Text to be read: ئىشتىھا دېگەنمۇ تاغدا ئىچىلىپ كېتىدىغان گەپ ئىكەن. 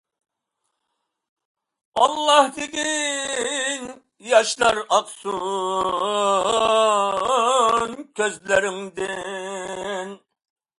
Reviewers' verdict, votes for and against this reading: rejected, 0, 2